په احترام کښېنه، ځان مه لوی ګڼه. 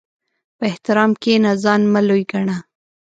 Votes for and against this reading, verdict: 1, 2, rejected